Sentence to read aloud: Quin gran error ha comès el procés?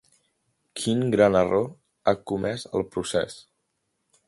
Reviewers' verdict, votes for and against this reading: rejected, 0, 2